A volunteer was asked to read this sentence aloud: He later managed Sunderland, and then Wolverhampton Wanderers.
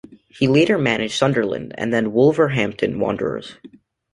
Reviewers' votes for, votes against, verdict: 2, 0, accepted